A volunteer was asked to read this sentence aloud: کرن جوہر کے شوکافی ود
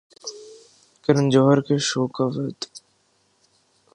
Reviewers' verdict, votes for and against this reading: accepted, 2, 0